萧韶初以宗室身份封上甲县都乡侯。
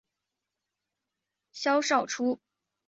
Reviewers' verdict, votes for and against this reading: rejected, 0, 4